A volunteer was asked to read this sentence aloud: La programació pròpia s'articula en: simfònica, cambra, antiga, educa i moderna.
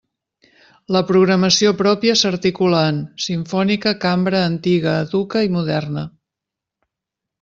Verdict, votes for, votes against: accepted, 2, 0